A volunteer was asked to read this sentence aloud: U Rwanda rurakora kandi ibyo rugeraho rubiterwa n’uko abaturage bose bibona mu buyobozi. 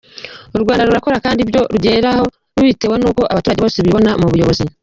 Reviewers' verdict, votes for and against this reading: accepted, 2, 1